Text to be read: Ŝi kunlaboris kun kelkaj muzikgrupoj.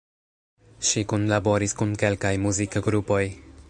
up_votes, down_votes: 0, 2